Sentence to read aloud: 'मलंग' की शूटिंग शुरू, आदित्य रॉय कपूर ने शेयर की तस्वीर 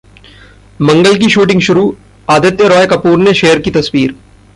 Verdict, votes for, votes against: rejected, 0, 2